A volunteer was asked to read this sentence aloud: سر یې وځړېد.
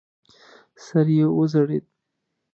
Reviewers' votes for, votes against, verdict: 2, 0, accepted